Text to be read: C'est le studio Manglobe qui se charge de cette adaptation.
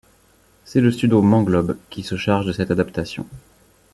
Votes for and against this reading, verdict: 2, 0, accepted